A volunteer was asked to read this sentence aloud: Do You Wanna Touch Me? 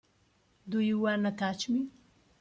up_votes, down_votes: 2, 0